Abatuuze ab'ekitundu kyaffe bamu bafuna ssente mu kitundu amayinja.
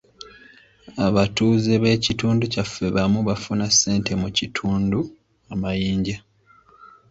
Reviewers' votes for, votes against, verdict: 1, 3, rejected